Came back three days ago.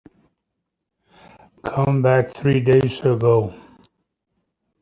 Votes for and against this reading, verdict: 0, 2, rejected